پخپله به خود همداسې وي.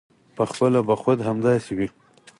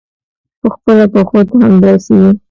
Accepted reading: first